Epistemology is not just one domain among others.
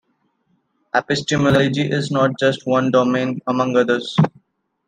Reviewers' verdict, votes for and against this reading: accepted, 2, 0